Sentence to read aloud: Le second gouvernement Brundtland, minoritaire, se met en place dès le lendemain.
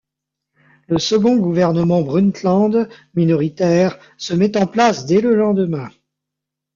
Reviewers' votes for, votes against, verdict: 2, 0, accepted